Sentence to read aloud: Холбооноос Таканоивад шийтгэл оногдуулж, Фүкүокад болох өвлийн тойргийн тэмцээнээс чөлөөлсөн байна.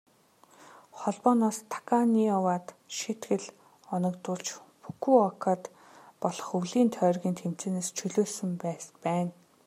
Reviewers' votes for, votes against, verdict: 2, 1, accepted